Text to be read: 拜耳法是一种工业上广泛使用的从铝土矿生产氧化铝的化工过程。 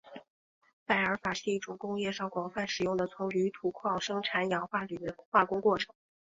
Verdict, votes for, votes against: accepted, 3, 0